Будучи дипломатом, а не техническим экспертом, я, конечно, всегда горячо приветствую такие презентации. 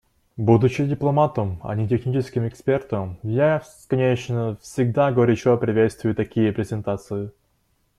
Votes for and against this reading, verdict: 2, 0, accepted